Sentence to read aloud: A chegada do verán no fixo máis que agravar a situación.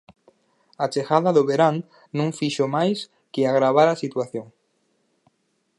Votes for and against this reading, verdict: 4, 0, accepted